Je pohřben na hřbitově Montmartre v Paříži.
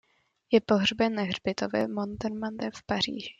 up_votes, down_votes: 0, 2